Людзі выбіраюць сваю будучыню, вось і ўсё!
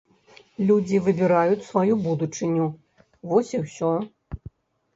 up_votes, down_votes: 3, 0